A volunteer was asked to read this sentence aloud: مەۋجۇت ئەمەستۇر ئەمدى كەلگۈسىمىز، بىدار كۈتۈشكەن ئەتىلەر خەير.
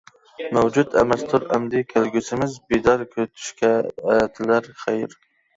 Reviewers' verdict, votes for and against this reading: rejected, 0, 2